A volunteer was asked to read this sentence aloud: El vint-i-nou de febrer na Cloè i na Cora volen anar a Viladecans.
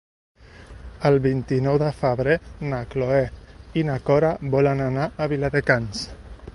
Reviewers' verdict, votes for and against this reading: accepted, 2, 0